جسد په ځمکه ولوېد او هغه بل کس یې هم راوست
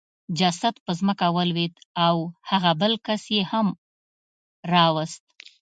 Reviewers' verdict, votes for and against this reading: accepted, 2, 0